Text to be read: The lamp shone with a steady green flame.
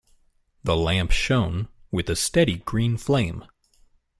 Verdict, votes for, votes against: accepted, 2, 1